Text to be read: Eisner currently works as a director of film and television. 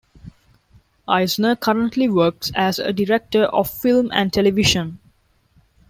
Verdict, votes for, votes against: accepted, 2, 0